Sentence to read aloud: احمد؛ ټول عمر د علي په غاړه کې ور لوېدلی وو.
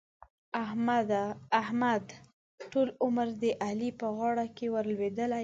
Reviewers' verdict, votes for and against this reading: rejected, 1, 2